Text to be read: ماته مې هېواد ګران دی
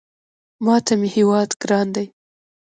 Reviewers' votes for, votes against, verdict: 1, 2, rejected